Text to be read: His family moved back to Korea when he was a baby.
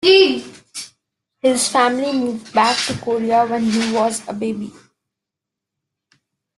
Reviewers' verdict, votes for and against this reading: rejected, 0, 2